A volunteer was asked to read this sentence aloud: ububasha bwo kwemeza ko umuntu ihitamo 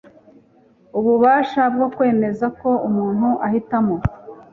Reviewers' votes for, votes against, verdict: 1, 2, rejected